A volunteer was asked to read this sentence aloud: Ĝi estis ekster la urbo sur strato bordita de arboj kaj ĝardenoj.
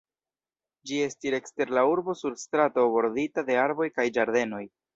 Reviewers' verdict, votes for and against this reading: rejected, 2, 2